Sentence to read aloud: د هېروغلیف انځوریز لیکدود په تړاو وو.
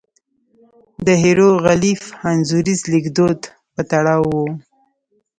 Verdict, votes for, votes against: rejected, 1, 2